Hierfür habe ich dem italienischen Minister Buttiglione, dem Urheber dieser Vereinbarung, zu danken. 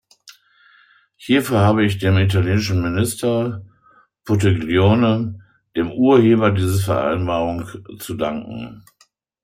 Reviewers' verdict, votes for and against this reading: rejected, 1, 2